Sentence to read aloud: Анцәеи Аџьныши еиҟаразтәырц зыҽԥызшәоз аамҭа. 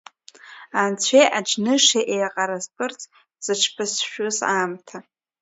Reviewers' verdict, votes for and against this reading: rejected, 0, 2